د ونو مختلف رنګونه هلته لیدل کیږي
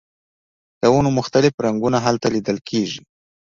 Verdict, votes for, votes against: accepted, 2, 0